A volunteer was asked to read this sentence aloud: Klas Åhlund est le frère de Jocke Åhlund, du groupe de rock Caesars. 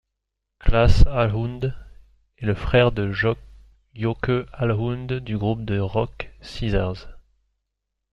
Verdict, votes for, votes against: rejected, 1, 2